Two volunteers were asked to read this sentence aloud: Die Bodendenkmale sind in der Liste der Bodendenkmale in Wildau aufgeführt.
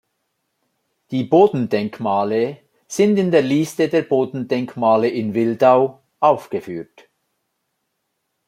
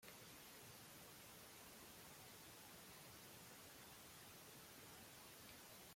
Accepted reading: first